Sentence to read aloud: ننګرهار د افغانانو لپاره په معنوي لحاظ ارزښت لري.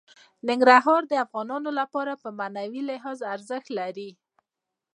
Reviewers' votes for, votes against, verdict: 2, 1, accepted